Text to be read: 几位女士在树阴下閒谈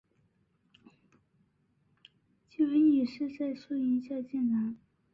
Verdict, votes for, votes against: accepted, 2, 0